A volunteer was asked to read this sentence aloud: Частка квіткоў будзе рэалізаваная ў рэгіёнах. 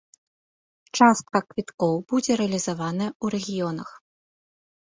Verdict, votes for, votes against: accepted, 2, 0